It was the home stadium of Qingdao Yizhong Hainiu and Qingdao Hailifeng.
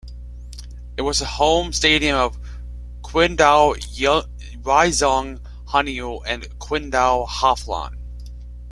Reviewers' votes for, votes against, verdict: 0, 2, rejected